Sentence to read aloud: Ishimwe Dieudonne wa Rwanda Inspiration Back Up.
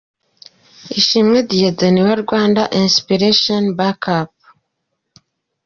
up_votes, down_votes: 2, 0